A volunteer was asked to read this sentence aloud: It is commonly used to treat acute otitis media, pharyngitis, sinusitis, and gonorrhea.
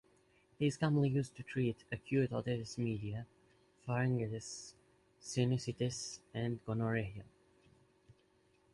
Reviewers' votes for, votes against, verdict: 1, 2, rejected